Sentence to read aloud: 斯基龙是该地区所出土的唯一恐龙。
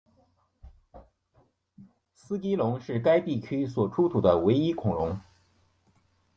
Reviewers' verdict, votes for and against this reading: accepted, 2, 0